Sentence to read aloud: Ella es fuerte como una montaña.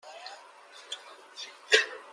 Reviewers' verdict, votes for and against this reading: rejected, 0, 2